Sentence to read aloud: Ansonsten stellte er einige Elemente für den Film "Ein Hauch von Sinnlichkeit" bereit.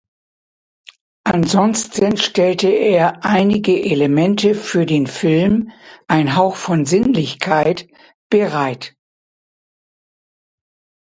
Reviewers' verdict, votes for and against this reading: accepted, 2, 0